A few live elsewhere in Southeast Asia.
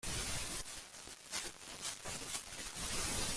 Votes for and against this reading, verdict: 0, 2, rejected